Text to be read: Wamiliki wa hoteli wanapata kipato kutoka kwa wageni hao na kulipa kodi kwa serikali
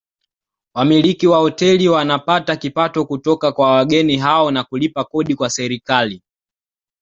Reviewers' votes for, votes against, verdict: 2, 0, accepted